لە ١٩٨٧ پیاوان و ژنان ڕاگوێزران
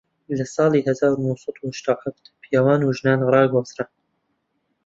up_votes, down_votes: 0, 2